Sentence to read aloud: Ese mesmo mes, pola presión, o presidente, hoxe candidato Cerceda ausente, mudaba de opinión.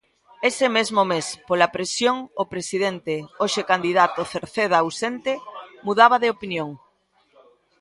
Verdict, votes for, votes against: accepted, 2, 1